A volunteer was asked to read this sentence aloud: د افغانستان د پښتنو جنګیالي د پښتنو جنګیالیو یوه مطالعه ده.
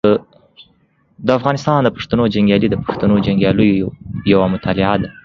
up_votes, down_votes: 1, 2